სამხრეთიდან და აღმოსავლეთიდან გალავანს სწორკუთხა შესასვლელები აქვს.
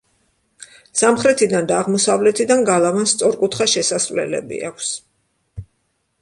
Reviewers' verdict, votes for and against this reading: accepted, 2, 0